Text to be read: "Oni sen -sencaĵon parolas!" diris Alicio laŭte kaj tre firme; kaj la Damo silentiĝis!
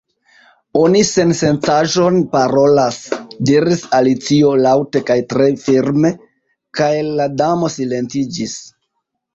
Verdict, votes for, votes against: accepted, 2, 0